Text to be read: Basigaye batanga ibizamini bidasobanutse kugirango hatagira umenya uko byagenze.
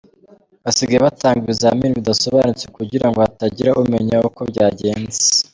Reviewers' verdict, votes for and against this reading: accepted, 2, 0